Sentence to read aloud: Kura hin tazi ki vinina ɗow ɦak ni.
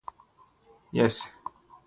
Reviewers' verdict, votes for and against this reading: rejected, 0, 2